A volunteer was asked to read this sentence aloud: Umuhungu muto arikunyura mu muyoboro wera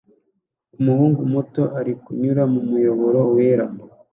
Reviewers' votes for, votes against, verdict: 2, 1, accepted